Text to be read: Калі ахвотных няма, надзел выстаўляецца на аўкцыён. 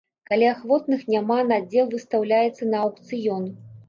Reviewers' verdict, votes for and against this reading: accepted, 2, 0